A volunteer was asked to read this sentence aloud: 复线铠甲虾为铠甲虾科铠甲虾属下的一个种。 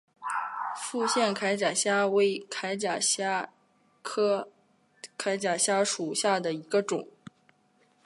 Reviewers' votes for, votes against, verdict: 3, 1, accepted